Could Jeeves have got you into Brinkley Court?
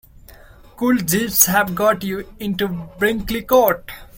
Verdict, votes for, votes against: rejected, 1, 2